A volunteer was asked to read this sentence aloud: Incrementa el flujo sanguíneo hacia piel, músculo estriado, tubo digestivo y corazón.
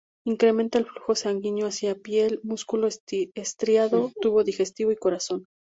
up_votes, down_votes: 2, 0